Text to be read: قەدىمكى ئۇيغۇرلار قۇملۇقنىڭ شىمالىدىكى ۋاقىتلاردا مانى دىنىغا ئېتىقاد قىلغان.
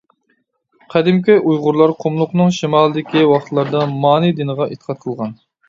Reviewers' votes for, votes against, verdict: 2, 0, accepted